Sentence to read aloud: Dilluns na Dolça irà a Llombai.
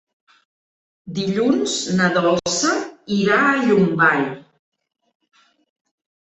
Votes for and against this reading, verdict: 4, 0, accepted